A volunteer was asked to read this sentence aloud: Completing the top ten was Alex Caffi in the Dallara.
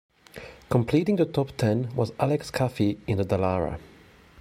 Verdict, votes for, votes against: accepted, 2, 1